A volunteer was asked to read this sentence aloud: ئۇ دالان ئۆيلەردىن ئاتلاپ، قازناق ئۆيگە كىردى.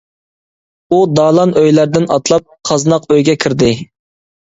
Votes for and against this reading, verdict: 2, 0, accepted